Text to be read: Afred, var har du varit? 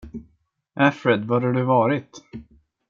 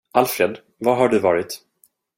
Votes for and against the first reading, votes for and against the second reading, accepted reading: 2, 0, 0, 2, first